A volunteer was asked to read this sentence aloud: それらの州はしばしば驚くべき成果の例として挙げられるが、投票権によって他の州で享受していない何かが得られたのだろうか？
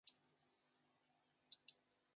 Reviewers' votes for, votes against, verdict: 0, 2, rejected